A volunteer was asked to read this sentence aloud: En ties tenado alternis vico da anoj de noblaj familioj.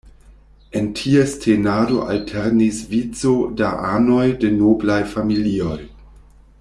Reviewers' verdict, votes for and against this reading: accepted, 2, 0